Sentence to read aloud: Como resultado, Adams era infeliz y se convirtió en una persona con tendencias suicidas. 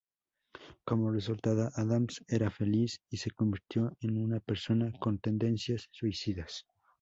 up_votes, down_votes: 0, 2